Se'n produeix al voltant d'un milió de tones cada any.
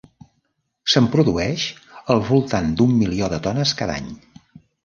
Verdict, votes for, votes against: rejected, 1, 2